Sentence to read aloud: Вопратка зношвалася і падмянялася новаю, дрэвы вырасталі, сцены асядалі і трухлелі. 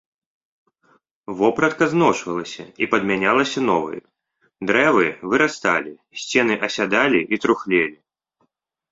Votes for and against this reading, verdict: 2, 0, accepted